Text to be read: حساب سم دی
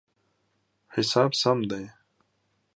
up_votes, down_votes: 2, 0